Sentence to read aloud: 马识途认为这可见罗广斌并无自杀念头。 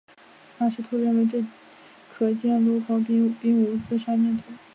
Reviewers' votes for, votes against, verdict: 0, 3, rejected